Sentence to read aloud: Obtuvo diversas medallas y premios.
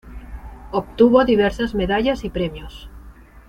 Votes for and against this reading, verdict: 2, 0, accepted